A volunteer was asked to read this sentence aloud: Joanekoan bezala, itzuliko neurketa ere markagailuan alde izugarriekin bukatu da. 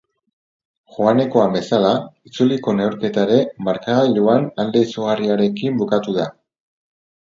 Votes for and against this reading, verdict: 0, 2, rejected